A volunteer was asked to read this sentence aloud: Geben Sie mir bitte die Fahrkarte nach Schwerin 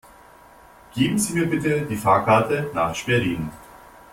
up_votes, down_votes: 2, 0